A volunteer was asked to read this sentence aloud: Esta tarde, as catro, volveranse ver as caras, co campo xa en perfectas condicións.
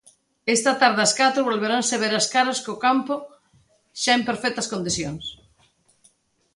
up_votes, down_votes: 2, 0